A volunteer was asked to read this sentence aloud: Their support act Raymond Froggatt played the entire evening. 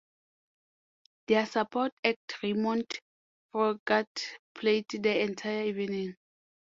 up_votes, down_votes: 0, 2